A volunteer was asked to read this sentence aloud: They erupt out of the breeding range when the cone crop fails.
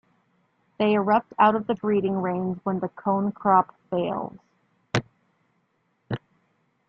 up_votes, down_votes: 2, 0